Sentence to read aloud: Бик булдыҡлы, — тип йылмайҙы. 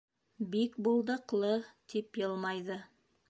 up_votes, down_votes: 2, 0